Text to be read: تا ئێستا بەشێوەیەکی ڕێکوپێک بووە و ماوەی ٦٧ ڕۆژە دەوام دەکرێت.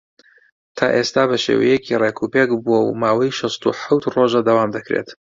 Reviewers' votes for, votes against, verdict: 0, 2, rejected